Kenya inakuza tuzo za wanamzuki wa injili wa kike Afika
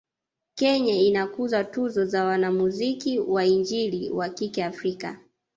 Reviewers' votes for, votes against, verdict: 1, 3, rejected